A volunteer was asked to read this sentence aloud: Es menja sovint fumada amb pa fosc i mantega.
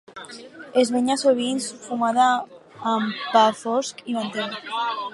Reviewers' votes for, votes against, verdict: 4, 0, accepted